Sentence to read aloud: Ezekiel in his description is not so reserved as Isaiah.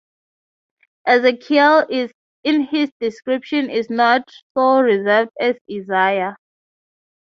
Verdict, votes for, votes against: accepted, 3, 0